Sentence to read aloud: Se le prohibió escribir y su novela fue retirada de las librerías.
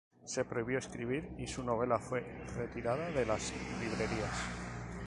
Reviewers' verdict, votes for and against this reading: rejected, 2, 2